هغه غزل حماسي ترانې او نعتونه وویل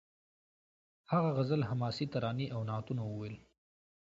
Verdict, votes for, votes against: accepted, 2, 0